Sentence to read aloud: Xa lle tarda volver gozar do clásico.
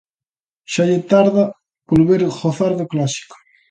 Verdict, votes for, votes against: accepted, 2, 0